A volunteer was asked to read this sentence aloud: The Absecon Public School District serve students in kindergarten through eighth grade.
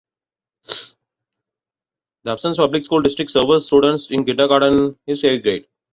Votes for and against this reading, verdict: 0, 2, rejected